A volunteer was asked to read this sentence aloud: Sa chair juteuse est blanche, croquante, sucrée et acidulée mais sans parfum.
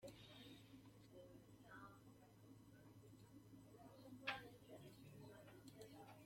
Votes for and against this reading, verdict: 0, 3, rejected